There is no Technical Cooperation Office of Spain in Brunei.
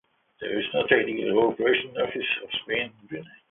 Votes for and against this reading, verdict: 0, 2, rejected